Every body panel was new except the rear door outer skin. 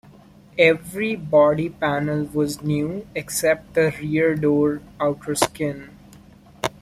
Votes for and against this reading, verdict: 2, 0, accepted